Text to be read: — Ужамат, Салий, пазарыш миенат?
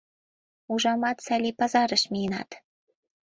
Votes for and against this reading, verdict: 2, 0, accepted